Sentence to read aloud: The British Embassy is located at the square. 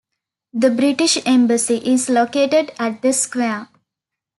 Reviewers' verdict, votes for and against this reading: accepted, 2, 0